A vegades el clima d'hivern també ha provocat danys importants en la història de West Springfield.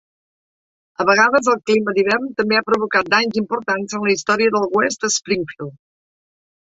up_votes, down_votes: 0, 2